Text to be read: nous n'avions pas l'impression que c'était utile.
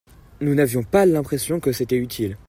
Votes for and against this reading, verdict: 2, 0, accepted